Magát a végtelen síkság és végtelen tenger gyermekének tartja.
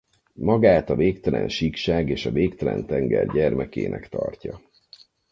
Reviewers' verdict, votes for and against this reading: rejected, 2, 4